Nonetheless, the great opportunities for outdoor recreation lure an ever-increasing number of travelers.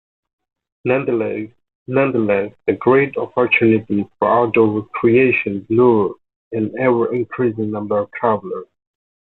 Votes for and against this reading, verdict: 0, 2, rejected